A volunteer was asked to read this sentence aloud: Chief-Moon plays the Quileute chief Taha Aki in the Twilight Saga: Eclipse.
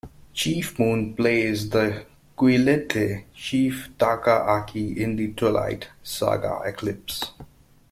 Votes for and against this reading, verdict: 1, 2, rejected